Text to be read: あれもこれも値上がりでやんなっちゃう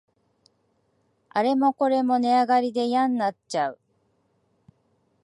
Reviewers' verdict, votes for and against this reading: accepted, 2, 0